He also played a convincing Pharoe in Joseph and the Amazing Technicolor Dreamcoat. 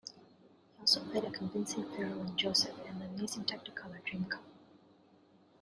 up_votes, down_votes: 1, 2